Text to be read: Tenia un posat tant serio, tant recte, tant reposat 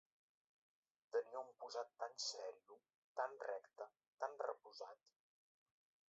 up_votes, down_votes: 0, 2